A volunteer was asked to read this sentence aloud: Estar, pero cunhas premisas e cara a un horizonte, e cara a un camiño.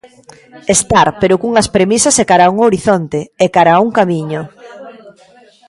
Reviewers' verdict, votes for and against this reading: rejected, 1, 2